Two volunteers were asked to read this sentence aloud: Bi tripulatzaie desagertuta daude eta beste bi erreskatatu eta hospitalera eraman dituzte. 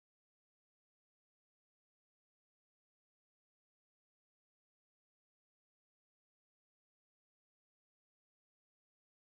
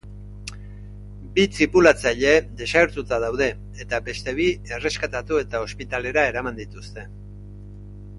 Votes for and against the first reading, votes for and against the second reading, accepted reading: 0, 2, 2, 0, second